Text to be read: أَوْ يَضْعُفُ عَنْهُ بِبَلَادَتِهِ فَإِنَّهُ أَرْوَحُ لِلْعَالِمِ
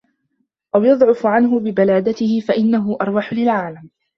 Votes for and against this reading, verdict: 2, 1, accepted